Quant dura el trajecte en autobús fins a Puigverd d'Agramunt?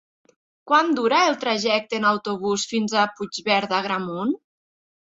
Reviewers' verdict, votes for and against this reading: accepted, 2, 0